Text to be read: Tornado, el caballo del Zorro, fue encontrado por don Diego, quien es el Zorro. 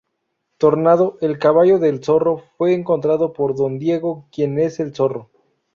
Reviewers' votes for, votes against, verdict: 4, 0, accepted